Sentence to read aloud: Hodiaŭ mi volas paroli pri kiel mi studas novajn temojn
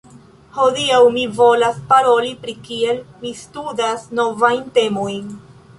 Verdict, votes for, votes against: accepted, 2, 1